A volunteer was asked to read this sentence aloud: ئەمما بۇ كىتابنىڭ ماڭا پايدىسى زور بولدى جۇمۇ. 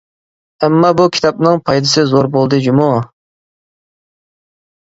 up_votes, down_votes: 0, 2